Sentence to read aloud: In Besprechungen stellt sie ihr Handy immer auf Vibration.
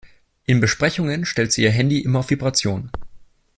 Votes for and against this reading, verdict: 2, 0, accepted